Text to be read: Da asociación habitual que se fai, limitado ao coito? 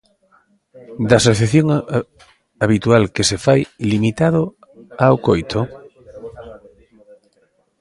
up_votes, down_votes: 0, 2